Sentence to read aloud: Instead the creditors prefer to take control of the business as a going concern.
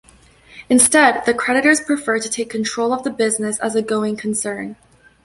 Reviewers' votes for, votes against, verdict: 2, 0, accepted